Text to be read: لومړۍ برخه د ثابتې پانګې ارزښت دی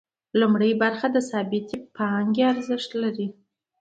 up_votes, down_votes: 1, 2